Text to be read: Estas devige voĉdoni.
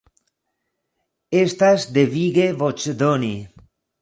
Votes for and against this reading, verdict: 2, 0, accepted